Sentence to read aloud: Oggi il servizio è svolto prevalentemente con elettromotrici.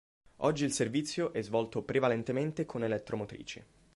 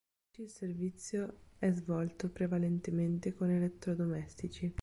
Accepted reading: first